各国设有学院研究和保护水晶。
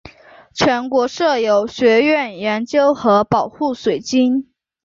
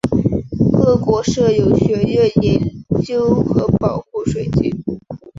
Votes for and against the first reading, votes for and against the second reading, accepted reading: 0, 2, 2, 0, second